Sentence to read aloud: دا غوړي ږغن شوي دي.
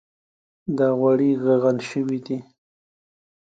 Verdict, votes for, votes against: accepted, 2, 0